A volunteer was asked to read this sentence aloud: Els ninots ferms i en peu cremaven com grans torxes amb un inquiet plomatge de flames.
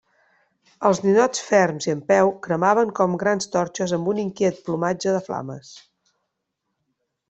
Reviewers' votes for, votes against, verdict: 2, 0, accepted